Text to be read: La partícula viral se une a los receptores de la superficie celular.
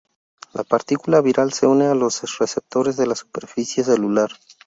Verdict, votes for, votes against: rejected, 0, 2